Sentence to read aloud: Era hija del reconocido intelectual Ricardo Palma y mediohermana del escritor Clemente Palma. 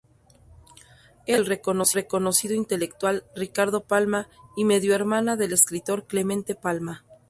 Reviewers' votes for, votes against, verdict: 0, 2, rejected